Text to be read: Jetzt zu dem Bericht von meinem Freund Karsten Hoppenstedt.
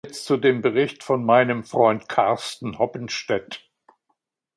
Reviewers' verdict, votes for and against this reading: rejected, 1, 2